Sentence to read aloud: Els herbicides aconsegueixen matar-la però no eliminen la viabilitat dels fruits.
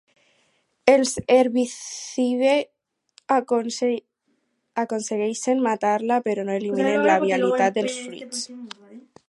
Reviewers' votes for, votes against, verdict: 0, 2, rejected